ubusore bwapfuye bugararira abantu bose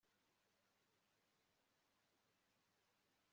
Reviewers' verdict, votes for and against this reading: rejected, 1, 2